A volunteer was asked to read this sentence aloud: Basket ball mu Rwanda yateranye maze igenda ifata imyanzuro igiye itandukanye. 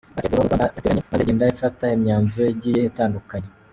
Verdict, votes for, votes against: rejected, 0, 2